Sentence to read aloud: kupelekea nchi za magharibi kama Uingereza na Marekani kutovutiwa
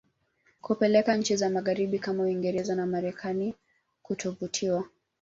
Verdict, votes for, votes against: accepted, 2, 0